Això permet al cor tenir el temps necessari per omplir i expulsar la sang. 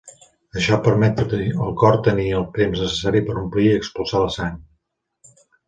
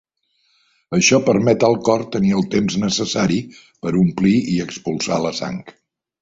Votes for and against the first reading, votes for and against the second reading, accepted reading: 0, 3, 2, 0, second